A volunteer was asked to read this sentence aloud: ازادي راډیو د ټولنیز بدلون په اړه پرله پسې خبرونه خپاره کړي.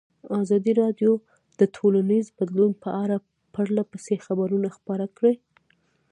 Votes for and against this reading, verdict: 1, 2, rejected